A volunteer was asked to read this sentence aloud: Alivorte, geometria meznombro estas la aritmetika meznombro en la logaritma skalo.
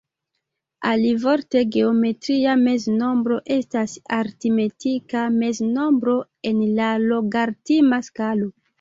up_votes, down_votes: 0, 2